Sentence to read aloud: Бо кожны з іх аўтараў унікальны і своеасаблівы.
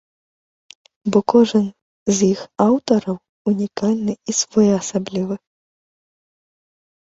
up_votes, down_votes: 1, 3